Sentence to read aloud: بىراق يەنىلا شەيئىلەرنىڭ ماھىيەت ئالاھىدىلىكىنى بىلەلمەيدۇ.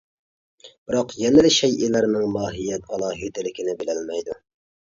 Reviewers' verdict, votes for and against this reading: accepted, 2, 0